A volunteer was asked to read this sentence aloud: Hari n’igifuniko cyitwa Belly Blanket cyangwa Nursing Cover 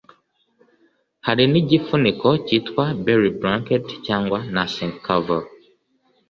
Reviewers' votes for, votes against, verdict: 2, 0, accepted